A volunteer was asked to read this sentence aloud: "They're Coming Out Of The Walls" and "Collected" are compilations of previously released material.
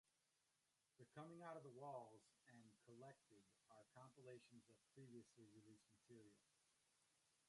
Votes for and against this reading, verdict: 0, 2, rejected